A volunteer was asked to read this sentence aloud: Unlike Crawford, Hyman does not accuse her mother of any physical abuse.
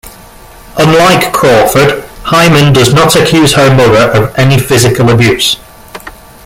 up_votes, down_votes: 0, 2